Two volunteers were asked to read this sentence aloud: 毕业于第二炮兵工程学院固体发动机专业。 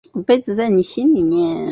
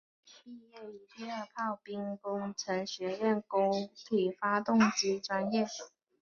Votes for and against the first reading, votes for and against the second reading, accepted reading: 1, 2, 2, 1, second